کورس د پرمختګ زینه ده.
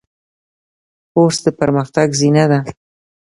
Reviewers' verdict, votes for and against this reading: accepted, 2, 0